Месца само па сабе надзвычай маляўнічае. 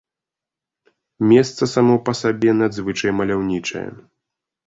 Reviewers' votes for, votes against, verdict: 2, 0, accepted